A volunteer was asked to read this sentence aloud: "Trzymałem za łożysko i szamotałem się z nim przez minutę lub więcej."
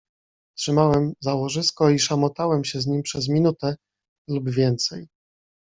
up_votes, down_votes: 2, 0